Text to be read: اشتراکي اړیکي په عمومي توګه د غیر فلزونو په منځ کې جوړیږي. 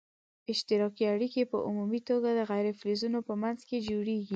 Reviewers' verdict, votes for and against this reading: accepted, 2, 0